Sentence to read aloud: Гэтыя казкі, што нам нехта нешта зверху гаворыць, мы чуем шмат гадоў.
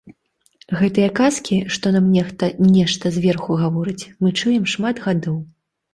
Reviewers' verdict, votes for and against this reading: accepted, 2, 0